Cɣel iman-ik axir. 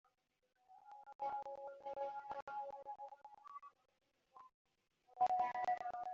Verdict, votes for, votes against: rejected, 0, 2